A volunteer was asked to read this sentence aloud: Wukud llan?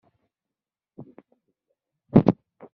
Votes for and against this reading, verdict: 0, 2, rejected